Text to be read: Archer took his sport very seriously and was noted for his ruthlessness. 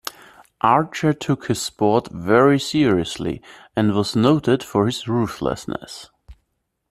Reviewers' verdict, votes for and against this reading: accepted, 2, 0